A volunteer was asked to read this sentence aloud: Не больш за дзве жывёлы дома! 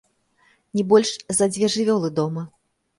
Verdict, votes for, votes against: accepted, 2, 0